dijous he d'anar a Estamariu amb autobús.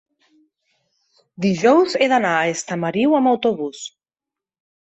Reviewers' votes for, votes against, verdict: 3, 0, accepted